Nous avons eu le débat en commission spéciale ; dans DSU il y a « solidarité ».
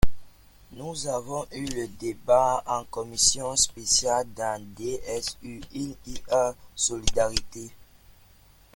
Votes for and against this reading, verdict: 2, 0, accepted